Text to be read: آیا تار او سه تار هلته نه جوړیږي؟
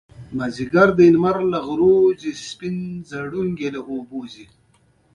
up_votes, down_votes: 2, 0